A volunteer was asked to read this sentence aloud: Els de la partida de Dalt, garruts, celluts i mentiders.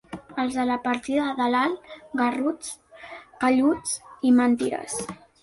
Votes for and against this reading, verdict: 2, 3, rejected